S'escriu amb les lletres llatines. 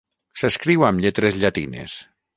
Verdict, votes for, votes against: rejected, 3, 3